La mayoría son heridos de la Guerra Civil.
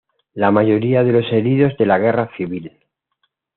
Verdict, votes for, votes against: rejected, 1, 2